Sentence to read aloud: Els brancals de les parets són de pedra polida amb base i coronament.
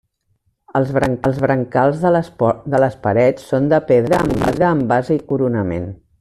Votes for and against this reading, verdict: 0, 2, rejected